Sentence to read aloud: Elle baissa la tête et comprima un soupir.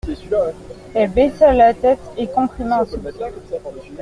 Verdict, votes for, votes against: rejected, 0, 2